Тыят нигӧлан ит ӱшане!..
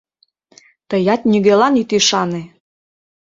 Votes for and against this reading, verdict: 2, 0, accepted